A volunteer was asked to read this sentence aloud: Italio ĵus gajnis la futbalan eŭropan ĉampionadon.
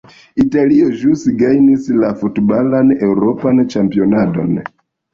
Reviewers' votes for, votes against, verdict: 0, 2, rejected